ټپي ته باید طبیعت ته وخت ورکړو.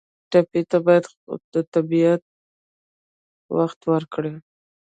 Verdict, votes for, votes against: rejected, 1, 2